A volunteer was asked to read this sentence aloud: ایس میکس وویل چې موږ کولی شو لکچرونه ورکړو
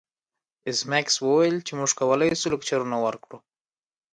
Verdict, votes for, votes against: accepted, 2, 0